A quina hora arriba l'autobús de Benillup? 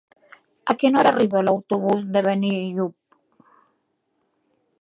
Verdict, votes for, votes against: accepted, 2, 1